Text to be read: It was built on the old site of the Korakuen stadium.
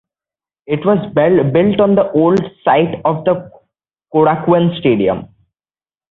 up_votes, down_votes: 2, 1